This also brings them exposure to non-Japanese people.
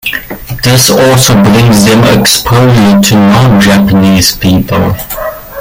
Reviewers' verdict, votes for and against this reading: rejected, 1, 2